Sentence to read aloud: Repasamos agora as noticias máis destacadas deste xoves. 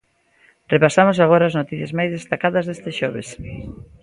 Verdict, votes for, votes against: accepted, 2, 0